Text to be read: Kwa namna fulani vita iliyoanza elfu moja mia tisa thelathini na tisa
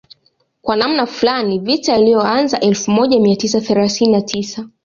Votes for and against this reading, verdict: 2, 0, accepted